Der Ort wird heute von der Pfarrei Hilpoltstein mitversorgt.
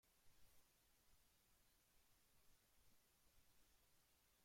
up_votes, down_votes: 0, 2